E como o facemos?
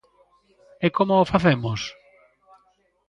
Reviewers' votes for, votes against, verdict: 2, 0, accepted